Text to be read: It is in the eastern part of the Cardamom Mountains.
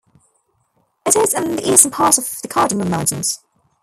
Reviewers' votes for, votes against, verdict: 1, 2, rejected